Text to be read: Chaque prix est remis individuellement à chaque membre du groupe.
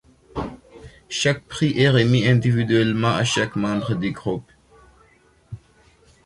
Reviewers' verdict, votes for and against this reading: accepted, 2, 0